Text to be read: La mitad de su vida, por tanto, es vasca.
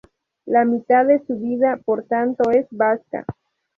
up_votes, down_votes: 0, 2